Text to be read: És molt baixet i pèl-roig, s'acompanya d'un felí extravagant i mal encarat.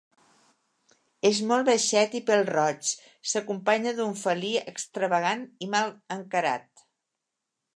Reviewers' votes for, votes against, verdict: 2, 0, accepted